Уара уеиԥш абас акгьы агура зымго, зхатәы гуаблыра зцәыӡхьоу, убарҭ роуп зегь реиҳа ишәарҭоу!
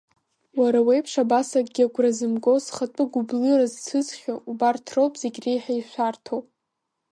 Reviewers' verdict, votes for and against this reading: accepted, 2, 0